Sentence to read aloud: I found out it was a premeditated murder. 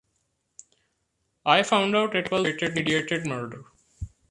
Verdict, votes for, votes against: rejected, 0, 2